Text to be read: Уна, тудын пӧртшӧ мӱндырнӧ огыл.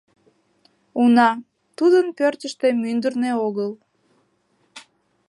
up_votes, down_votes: 1, 2